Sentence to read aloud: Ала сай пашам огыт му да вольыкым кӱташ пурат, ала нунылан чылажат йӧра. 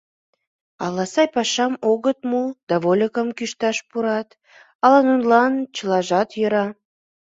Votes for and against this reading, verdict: 1, 2, rejected